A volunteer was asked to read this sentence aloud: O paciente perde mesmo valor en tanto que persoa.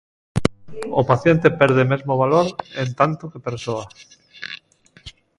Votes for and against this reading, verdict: 2, 0, accepted